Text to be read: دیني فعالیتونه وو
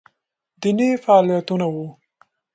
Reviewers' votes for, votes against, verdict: 2, 0, accepted